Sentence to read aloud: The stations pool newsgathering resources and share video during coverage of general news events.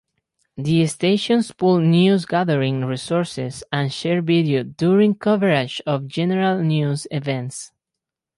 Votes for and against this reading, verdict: 4, 2, accepted